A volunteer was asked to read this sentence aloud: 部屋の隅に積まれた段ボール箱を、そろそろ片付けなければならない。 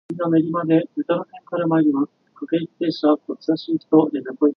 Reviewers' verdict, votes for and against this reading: rejected, 1, 2